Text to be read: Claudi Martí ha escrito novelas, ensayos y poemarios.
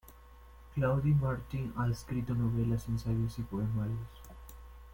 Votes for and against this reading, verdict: 0, 2, rejected